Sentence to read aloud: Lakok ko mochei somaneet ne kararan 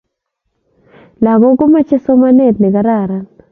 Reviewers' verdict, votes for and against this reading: accepted, 2, 0